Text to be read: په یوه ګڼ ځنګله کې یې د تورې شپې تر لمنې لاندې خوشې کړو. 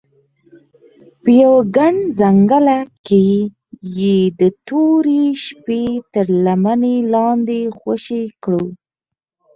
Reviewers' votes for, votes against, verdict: 0, 4, rejected